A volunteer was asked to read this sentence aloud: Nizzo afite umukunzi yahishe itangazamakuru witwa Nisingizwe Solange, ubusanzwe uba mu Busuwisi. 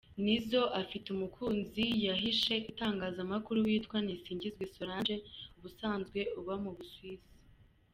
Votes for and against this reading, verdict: 2, 0, accepted